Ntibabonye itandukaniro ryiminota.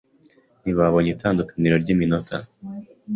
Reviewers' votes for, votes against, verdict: 2, 0, accepted